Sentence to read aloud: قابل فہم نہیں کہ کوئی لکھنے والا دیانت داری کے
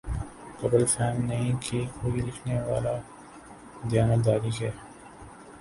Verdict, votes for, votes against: rejected, 0, 3